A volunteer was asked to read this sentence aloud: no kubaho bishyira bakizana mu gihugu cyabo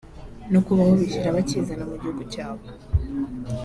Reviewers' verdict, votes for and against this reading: accepted, 3, 0